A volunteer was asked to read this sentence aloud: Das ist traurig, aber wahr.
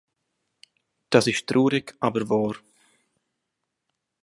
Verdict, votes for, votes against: accepted, 2, 0